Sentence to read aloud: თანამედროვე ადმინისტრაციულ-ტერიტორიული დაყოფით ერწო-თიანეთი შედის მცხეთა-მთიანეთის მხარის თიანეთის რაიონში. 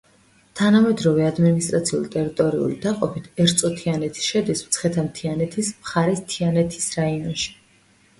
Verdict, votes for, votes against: accepted, 2, 0